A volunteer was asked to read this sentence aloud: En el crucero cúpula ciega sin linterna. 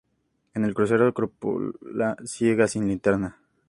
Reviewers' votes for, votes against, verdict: 2, 0, accepted